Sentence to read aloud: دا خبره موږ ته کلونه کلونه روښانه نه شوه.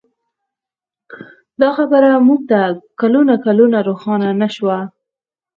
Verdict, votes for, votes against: rejected, 2, 4